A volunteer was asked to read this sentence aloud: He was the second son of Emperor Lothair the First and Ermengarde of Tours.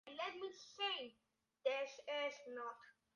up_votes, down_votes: 0, 2